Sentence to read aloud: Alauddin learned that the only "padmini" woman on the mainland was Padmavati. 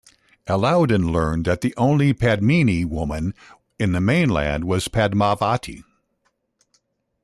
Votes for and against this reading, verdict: 1, 2, rejected